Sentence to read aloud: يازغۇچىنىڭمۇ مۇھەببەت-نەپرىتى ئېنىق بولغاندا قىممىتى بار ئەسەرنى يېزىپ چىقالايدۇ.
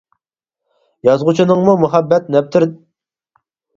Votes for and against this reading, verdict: 0, 4, rejected